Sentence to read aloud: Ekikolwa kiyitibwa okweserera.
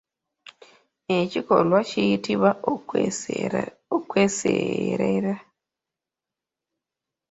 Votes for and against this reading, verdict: 1, 2, rejected